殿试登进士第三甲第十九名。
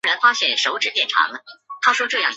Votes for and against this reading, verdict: 0, 2, rejected